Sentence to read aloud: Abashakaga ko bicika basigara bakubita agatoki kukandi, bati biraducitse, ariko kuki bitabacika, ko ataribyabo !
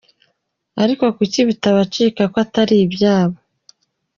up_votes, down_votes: 1, 3